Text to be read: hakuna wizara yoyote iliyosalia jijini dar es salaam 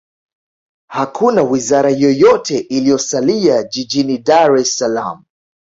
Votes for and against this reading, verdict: 2, 0, accepted